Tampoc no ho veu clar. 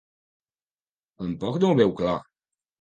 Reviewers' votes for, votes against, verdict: 2, 0, accepted